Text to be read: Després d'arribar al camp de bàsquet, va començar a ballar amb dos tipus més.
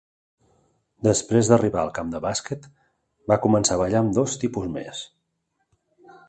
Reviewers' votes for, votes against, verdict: 3, 0, accepted